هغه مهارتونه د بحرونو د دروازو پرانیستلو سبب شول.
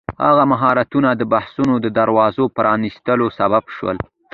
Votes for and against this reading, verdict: 0, 2, rejected